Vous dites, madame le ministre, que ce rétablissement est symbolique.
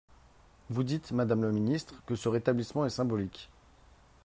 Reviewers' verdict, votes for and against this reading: accepted, 4, 0